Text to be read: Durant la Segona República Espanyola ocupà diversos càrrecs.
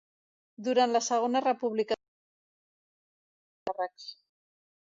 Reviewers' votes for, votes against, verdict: 0, 2, rejected